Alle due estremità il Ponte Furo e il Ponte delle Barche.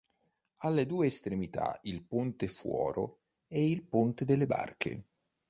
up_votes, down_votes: 1, 2